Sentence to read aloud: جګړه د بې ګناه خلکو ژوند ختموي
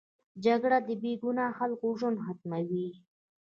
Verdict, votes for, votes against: accepted, 2, 0